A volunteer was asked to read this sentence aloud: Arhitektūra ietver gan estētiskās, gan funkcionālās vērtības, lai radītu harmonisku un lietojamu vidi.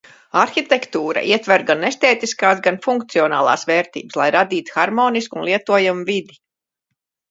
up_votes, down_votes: 1, 2